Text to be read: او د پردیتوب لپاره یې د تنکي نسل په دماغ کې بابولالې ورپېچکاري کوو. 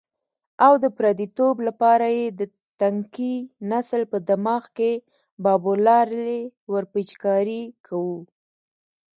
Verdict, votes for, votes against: accepted, 2, 0